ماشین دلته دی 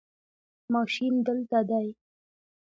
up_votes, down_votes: 1, 2